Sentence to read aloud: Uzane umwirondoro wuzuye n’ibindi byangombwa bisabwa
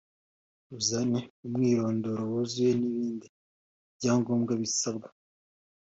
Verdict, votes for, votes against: accepted, 2, 0